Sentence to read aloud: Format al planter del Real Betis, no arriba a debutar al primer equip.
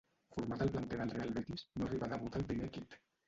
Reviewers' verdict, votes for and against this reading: rejected, 0, 3